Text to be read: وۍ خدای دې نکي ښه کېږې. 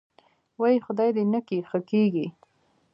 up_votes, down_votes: 1, 2